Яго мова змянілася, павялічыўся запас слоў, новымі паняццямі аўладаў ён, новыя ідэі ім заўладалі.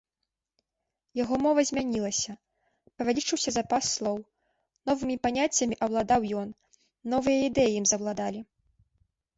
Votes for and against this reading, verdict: 2, 0, accepted